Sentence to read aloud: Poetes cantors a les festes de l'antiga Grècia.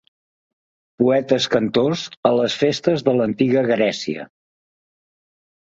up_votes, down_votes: 2, 0